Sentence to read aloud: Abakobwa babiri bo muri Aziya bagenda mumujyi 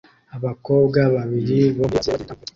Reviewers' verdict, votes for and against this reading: rejected, 0, 2